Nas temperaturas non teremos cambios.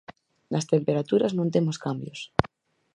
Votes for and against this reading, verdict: 0, 4, rejected